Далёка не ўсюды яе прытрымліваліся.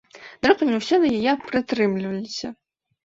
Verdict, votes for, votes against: rejected, 1, 2